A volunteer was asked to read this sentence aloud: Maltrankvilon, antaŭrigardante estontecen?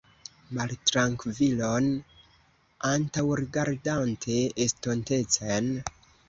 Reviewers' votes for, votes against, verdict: 2, 0, accepted